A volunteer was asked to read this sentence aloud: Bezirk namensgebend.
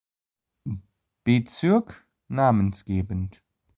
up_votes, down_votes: 2, 0